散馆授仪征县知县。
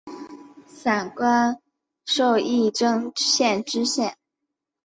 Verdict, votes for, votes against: accepted, 2, 0